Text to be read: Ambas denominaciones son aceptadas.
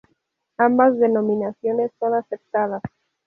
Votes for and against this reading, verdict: 4, 2, accepted